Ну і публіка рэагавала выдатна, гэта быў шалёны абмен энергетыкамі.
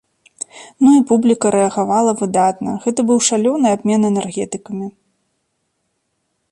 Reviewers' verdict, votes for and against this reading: accepted, 2, 0